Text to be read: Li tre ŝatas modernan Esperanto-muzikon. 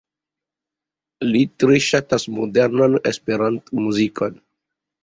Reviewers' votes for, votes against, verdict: 2, 0, accepted